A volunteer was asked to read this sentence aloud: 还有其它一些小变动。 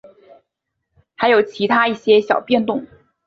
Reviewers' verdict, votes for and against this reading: accepted, 5, 0